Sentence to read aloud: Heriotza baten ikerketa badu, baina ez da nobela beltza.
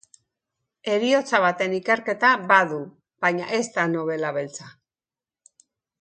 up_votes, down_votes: 2, 0